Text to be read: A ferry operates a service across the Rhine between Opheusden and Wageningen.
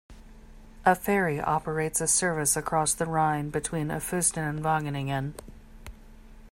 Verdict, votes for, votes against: rejected, 0, 2